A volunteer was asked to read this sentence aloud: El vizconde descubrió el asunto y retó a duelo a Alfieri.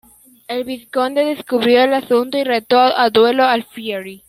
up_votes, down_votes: 1, 2